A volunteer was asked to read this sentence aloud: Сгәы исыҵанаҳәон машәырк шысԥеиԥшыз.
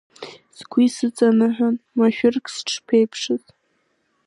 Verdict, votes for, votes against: accepted, 2, 0